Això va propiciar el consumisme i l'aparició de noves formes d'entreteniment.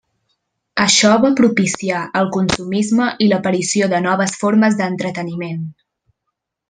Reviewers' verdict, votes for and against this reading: accepted, 3, 0